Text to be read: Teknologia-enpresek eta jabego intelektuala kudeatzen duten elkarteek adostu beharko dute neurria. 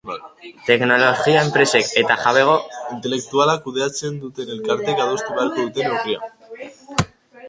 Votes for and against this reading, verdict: 1, 2, rejected